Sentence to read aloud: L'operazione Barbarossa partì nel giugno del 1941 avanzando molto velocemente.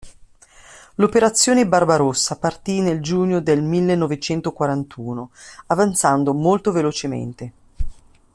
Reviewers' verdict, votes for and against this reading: rejected, 0, 2